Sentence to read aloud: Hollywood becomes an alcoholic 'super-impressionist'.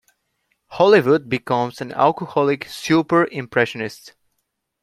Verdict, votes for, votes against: accepted, 2, 0